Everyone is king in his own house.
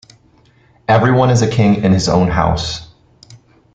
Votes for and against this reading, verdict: 0, 2, rejected